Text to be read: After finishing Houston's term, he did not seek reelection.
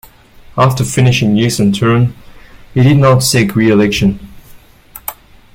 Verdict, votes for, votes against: rejected, 1, 2